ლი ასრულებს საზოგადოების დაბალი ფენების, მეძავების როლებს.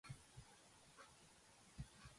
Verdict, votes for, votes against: rejected, 0, 2